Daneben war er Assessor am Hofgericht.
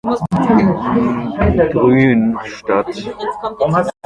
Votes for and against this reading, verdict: 0, 2, rejected